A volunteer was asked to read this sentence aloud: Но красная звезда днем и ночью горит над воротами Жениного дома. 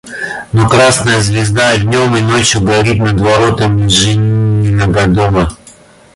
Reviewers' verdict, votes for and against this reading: rejected, 0, 2